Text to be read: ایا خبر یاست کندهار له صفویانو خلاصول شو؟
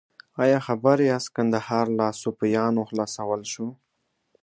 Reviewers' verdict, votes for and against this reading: accepted, 2, 0